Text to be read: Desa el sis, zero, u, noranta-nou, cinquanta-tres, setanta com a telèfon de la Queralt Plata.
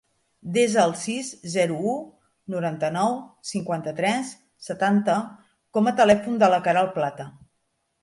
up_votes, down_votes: 3, 0